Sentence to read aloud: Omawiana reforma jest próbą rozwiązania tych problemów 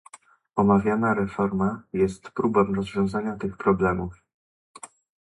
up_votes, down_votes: 0, 2